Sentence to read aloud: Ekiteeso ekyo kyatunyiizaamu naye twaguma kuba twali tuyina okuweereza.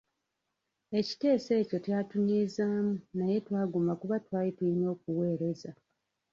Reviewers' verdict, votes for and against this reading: rejected, 0, 2